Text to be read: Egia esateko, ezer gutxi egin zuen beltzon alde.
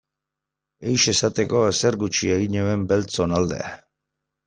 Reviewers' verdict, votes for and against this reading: rejected, 0, 2